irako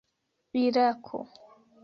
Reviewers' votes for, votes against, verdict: 2, 0, accepted